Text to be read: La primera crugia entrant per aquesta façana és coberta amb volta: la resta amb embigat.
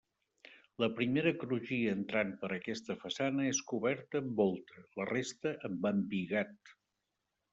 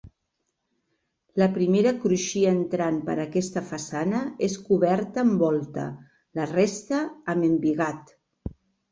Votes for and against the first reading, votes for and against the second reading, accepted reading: 2, 0, 1, 2, first